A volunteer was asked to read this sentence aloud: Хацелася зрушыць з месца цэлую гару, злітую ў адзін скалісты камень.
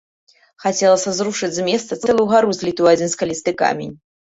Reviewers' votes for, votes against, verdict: 2, 1, accepted